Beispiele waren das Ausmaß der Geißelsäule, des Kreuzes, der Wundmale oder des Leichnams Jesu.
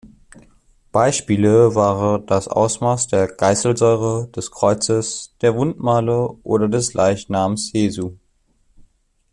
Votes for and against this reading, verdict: 1, 2, rejected